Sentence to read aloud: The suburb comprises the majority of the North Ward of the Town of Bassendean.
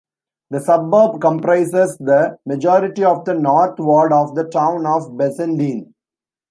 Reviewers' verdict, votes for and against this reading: rejected, 1, 2